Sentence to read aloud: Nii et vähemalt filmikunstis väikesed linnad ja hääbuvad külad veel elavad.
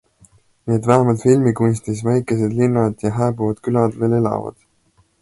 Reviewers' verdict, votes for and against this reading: accepted, 2, 0